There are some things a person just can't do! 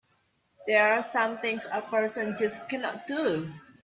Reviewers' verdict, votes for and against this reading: rejected, 1, 2